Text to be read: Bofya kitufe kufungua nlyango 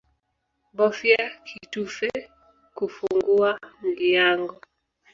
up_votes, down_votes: 2, 0